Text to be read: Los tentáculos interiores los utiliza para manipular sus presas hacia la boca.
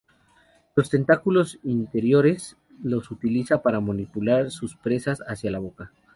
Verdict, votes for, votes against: accepted, 2, 0